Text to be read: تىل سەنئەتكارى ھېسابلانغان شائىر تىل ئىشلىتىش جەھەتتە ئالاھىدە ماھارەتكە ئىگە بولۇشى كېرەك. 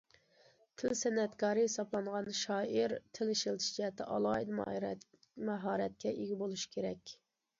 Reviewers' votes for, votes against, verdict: 0, 2, rejected